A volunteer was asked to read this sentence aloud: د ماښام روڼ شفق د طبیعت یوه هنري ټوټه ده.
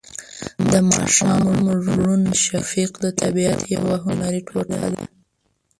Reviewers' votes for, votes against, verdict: 1, 2, rejected